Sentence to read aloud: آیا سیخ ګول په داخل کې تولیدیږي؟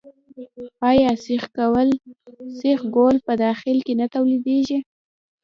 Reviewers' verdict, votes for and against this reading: rejected, 1, 2